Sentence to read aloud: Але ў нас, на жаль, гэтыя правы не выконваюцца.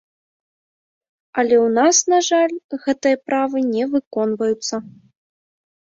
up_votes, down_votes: 1, 2